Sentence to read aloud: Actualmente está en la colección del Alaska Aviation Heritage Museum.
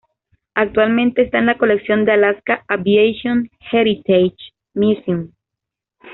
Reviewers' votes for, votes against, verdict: 2, 0, accepted